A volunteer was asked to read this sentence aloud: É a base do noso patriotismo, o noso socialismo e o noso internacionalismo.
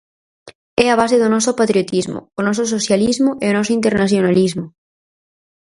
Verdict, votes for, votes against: accepted, 4, 0